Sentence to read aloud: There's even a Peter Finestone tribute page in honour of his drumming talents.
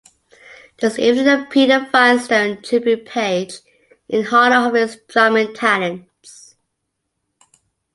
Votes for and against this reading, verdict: 0, 3, rejected